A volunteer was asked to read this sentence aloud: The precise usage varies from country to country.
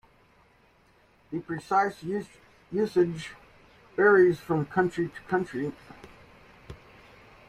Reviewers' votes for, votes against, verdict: 0, 2, rejected